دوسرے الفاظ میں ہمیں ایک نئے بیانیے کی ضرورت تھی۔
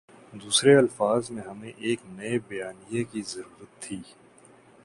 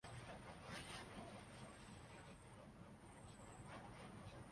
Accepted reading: first